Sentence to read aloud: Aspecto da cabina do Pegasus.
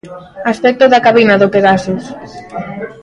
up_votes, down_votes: 2, 0